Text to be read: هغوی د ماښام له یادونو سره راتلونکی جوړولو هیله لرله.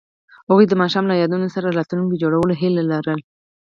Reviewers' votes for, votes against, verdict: 4, 0, accepted